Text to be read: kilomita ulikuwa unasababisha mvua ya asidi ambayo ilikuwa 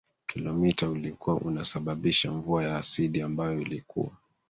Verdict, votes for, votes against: rejected, 1, 2